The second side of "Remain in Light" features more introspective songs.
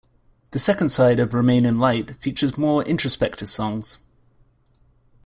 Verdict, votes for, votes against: accepted, 2, 0